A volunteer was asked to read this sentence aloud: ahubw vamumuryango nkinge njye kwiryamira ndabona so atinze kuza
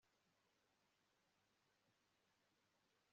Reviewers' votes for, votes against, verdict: 0, 2, rejected